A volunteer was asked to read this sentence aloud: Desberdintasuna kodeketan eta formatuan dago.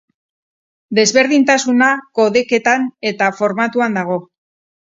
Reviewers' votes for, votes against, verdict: 6, 0, accepted